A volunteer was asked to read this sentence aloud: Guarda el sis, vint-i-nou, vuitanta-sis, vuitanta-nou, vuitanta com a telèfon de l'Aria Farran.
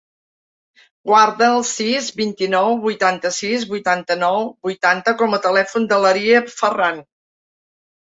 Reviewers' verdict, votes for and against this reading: accepted, 3, 0